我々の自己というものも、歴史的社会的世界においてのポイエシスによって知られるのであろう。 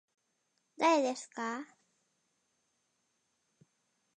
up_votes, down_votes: 0, 2